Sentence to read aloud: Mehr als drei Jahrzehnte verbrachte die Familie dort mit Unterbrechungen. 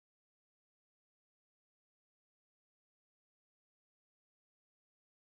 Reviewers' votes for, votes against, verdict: 0, 4, rejected